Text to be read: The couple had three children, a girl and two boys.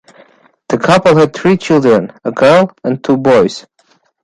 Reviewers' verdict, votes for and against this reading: accepted, 2, 1